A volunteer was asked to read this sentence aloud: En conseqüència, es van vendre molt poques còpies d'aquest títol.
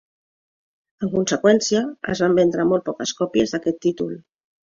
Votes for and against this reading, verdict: 2, 0, accepted